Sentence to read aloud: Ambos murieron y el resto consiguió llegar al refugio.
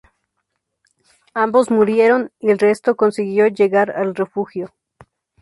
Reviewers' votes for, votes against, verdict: 4, 0, accepted